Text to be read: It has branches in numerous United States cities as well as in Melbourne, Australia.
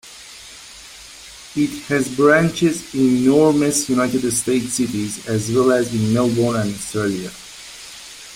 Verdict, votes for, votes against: rejected, 1, 2